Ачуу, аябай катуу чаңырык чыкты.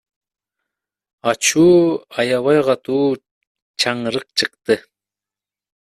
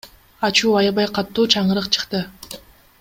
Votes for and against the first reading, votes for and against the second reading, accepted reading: 1, 2, 2, 0, second